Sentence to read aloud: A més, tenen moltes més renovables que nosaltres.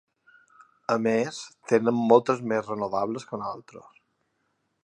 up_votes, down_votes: 1, 2